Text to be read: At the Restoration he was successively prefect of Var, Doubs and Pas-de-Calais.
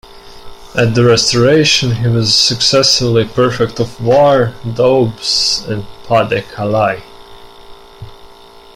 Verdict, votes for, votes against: rejected, 0, 2